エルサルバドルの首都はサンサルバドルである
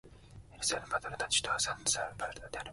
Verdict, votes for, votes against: rejected, 0, 2